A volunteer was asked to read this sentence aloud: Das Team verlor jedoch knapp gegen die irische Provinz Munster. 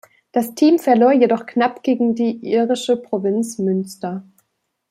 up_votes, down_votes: 2, 3